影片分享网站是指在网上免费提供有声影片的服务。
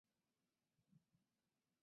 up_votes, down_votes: 0, 3